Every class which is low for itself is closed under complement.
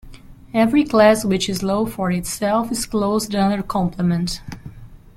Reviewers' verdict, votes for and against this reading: accepted, 2, 1